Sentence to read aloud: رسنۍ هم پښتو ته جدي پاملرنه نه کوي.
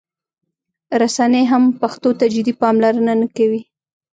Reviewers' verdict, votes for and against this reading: accepted, 2, 0